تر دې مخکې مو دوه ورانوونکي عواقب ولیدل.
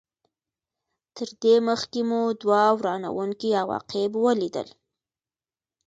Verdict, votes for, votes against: accepted, 2, 0